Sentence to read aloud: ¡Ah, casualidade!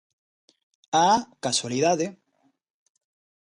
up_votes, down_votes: 2, 0